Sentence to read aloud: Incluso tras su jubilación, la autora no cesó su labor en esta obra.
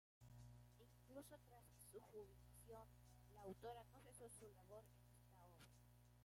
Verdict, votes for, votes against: rejected, 0, 2